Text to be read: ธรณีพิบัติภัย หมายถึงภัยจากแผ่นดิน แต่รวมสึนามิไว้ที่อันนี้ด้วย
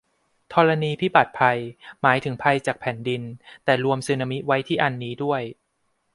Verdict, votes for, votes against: accepted, 2, 0